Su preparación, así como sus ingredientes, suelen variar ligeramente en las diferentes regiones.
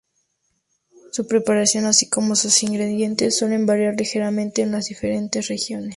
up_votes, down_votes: 0, 2